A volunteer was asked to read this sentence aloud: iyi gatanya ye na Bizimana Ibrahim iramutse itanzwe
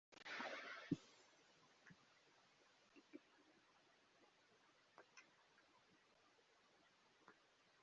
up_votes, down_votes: 0, 2